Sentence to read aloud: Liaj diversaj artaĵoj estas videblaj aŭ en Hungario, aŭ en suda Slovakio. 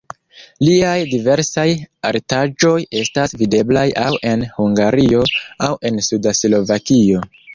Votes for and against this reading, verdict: 1, 2, rejected